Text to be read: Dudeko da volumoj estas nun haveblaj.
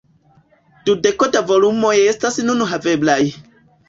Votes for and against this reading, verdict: 1, 2, rejected